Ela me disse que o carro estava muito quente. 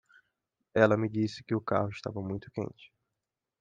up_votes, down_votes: 2, 0